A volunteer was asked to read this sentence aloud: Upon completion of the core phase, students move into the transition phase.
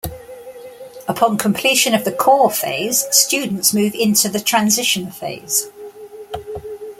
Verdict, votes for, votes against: accepted, 2, 0